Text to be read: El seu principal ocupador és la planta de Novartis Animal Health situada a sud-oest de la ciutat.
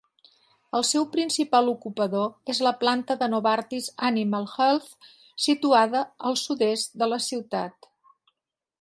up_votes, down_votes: 0, 2